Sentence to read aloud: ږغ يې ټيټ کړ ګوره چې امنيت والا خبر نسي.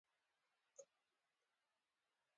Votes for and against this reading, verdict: 2, 1, accepted